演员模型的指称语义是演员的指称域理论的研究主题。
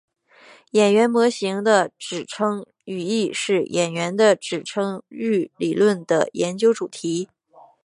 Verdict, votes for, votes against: accepted, 2, 1